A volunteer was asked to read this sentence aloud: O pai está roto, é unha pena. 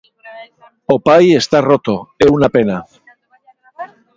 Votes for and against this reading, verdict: 0, 2, rejected